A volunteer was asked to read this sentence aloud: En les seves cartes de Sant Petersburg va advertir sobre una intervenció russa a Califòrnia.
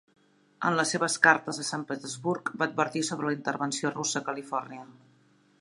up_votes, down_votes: 2, 1